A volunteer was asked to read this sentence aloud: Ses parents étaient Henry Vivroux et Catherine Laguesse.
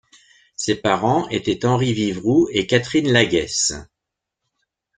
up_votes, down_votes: 2, 0